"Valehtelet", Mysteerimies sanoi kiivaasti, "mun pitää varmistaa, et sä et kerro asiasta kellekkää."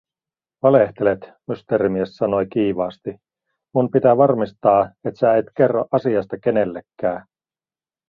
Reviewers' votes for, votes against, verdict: 0, 4, rejected